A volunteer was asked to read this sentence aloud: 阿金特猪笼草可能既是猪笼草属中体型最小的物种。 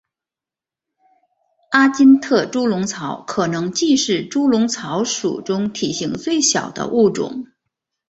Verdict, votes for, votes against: accepted, 3, 1